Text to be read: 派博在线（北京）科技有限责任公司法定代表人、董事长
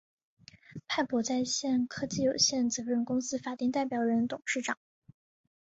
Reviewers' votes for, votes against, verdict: 2, 0, accepted